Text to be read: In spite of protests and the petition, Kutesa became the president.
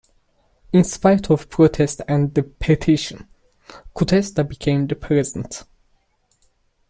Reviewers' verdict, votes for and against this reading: rejected, 1, 2